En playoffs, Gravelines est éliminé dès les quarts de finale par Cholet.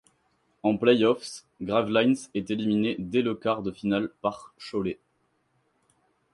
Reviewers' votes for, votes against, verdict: 0, 4, rejected